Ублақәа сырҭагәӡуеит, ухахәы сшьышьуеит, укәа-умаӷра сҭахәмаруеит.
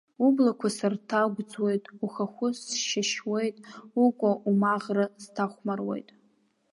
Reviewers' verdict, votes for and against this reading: rejected, 0, 2